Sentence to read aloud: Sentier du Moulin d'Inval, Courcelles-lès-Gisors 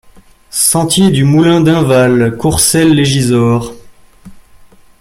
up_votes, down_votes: 2, 0